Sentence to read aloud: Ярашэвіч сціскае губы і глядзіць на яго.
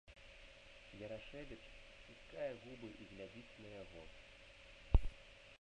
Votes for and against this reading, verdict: 1, 2, rejected